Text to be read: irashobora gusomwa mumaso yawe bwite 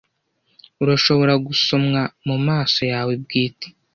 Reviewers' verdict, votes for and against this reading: rejected, 0, 2